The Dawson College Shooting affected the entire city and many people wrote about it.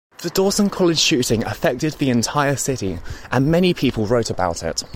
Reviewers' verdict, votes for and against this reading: accepted, 2, 0